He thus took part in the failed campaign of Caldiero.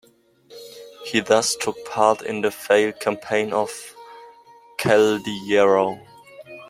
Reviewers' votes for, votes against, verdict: 2, 1, accepted